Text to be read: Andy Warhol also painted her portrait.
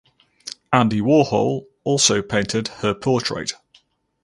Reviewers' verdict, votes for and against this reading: accepted, 4, 0